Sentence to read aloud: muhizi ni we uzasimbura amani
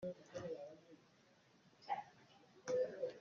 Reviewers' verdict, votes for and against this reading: rejected, 0, 3